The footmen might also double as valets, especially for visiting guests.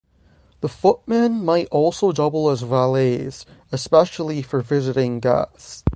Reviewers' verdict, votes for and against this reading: rejected, 0, 3